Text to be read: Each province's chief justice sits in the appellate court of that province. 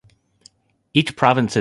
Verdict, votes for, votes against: rejected, 0, 2